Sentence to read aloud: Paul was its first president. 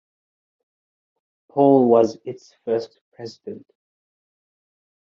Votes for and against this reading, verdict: 2, 1, accepted